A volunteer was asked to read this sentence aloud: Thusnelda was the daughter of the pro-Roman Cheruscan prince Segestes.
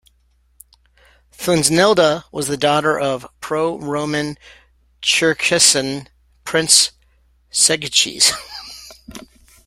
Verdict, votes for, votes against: rejected, 0, 2